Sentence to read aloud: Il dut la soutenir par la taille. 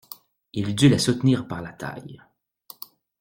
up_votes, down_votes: 2, 0